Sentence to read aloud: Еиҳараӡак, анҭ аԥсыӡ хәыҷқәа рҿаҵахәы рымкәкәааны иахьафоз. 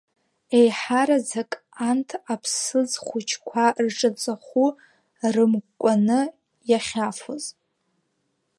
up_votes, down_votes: 1, 3